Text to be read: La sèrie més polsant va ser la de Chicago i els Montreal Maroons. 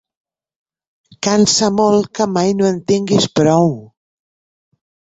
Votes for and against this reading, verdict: 0, 2, rejected